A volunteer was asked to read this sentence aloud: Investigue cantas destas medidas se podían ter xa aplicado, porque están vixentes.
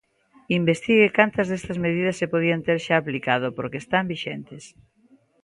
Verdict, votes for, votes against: accepted, 2, 0